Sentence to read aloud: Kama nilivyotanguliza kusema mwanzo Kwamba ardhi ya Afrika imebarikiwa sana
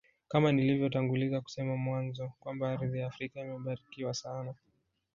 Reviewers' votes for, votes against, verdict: 2, 0, accepted